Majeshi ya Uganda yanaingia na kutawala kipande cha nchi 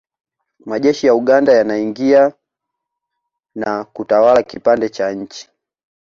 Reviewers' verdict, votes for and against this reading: accepted, 2, 0